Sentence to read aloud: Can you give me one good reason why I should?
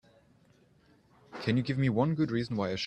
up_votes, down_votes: 0, 3